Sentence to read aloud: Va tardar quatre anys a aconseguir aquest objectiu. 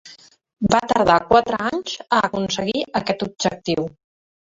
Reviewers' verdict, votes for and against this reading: rejected, 0, 2